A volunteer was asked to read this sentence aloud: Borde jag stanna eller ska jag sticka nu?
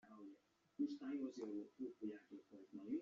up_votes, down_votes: 0, 2